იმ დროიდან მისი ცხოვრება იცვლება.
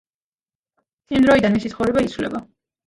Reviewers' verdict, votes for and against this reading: rejected, 1, 2